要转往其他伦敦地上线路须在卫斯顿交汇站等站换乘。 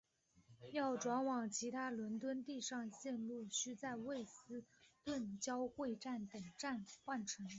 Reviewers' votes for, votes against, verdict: 1, 2, rejected